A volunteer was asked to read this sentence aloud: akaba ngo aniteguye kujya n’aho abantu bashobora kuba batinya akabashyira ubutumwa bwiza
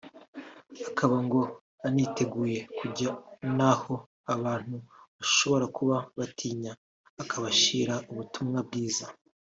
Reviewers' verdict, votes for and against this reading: rejected, 1, 2